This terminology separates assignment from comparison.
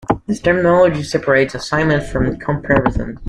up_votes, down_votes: 2, 0